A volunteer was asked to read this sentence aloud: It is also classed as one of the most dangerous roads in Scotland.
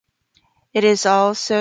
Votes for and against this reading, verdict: 0, 3, rejected